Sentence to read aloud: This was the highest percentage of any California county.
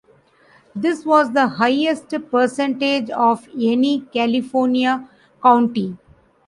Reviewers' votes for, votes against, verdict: 2, 0, accepted